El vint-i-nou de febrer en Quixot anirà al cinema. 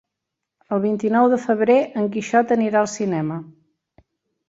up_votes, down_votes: 2, 0